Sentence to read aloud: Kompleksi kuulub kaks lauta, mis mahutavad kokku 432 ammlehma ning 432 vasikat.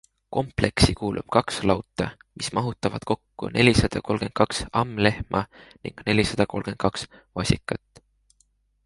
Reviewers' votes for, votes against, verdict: 0, 2, rejected